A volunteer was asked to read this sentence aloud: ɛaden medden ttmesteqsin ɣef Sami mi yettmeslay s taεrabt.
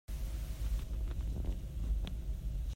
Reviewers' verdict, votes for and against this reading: rejected, 0, 2